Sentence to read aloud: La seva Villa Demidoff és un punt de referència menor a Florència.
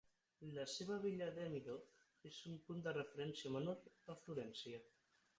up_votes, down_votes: 6, 9